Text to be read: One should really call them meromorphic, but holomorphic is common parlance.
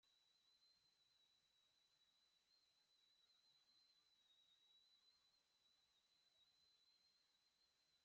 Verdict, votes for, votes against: rejected, 0, 2